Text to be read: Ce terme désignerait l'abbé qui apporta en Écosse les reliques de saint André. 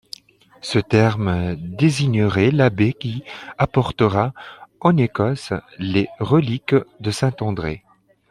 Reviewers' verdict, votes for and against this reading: rejected, 0, 2